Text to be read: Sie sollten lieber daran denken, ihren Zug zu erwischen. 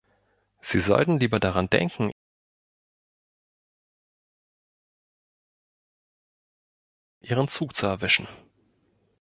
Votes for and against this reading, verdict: 0, 2, rejected